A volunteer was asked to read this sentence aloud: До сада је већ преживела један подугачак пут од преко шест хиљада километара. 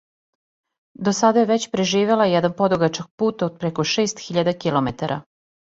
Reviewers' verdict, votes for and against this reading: accepted, 2, 0